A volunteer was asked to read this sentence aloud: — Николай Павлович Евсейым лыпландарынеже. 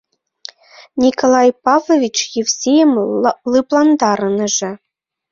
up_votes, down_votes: 0, 2